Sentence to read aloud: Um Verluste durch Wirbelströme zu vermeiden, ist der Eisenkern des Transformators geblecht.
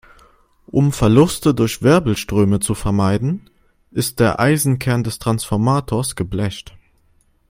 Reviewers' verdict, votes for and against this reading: accepted, 3, 0